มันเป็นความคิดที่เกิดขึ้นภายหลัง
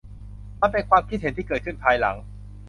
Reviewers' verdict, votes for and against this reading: rejected, 0, 2